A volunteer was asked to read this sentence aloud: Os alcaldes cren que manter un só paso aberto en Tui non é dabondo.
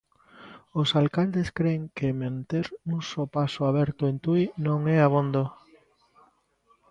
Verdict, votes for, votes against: rejected, 0, 2